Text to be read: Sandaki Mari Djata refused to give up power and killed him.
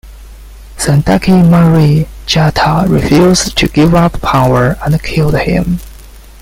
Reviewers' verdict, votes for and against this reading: accepted, 2, 1